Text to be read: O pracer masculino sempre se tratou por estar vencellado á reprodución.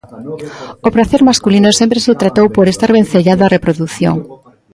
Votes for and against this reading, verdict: 2, 0, accepted